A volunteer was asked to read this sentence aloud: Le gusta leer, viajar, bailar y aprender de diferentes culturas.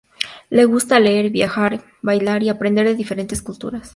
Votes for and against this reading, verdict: 2, 0, accepted